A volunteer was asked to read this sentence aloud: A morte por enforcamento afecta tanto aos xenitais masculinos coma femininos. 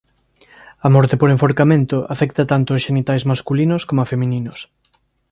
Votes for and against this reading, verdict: 2, 0, accepted